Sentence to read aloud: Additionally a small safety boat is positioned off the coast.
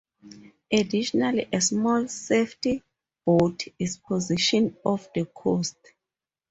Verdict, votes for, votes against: rejected, 0, 2